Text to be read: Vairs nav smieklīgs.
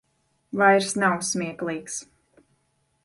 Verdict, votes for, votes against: accepted, 2, 0